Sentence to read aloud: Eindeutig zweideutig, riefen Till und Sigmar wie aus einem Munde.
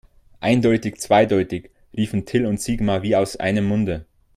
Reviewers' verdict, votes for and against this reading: accepted, 2, 0